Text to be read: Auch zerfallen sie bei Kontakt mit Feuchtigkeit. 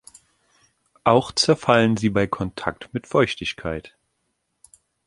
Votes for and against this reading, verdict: 3, 0, accepted